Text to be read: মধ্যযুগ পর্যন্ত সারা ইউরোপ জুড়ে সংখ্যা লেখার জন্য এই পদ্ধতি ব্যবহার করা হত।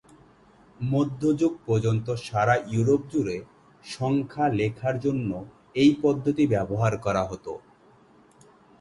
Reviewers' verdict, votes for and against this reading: accepted, 7, 0